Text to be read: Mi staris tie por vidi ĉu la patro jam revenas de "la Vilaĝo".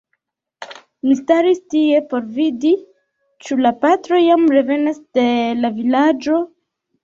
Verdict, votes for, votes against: rejected, 1, 2